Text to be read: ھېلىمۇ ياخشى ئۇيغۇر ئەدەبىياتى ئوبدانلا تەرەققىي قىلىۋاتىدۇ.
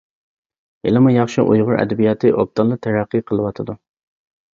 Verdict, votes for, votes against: accepted, 2, 0